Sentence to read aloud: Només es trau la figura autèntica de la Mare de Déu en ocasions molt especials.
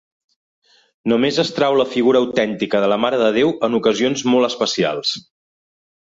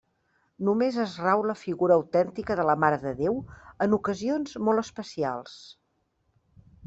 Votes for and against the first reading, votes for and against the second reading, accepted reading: 2, 0, 0, 2, first